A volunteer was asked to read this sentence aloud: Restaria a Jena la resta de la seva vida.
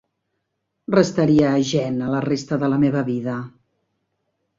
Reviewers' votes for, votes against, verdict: 0, 2, rejected